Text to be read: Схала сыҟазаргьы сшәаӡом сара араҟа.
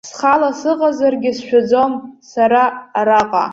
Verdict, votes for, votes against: accepted, 2, 0